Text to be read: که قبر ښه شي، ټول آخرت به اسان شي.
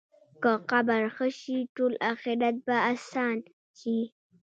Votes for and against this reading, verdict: 1, 2, rejected